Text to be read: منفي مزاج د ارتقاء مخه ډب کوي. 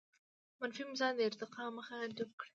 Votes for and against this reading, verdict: 0, 2, rejected